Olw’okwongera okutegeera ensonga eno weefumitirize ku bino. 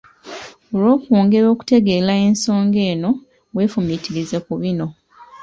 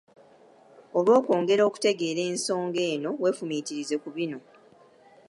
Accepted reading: first